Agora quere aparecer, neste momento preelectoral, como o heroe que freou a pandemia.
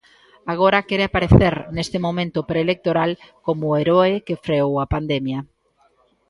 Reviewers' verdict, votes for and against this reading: rejected, 1, 2